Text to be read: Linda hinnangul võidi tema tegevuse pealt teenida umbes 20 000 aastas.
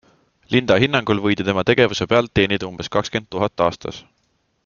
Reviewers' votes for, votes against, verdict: 0, 2, rejected